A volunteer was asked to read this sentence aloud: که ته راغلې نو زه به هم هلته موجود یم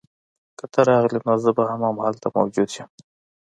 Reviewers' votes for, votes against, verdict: 2, 0, accepted